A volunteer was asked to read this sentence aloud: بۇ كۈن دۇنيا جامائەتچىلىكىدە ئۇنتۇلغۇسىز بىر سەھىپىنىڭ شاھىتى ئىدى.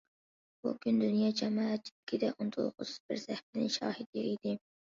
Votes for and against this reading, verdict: 1, 2, rejected